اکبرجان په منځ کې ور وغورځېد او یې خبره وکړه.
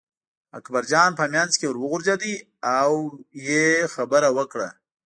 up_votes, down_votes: 2, 0